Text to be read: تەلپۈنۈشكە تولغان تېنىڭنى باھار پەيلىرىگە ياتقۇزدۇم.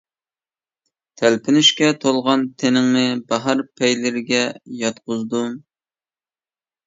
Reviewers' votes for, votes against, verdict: 2, 0, accepted